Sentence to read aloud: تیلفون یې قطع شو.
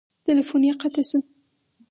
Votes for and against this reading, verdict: 2, 2, rejected